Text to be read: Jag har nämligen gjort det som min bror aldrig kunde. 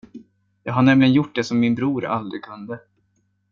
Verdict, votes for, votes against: accepted, 2, 0